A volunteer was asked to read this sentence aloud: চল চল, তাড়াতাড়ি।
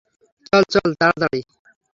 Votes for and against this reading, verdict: 3, 0, accepted